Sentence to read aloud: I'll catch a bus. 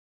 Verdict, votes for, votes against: rejected, 1, 2